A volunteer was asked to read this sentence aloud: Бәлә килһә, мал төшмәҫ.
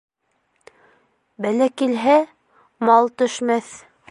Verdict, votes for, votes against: accepted, 2, 1